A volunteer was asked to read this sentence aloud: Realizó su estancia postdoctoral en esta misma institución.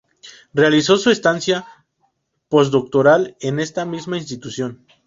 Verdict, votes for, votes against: accepted, 2, 0